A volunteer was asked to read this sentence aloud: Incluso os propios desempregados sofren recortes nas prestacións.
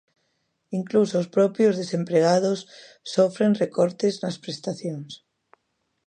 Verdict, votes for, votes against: accepted, 2, 0